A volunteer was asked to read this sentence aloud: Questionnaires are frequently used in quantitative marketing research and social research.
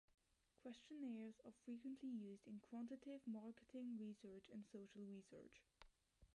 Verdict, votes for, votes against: rejected, 0, 2